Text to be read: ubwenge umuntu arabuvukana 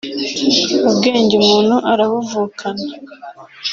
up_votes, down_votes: 1, 2